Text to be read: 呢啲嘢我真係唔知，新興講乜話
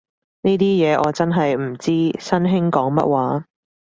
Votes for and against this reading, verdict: 2, 0, accepted